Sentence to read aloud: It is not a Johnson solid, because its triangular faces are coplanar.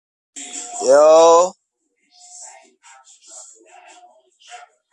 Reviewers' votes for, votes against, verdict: 0, 2, rejected